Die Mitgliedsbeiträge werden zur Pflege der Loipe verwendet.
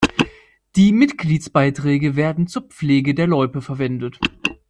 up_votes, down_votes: 2, 0